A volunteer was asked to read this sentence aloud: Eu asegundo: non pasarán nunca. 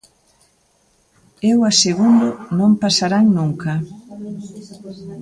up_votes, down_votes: 2, 0